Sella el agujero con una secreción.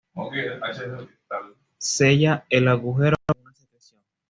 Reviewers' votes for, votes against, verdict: 1, 2, rejected